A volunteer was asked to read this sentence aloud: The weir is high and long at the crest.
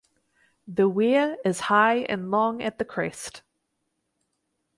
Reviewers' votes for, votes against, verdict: 4, 0, accepted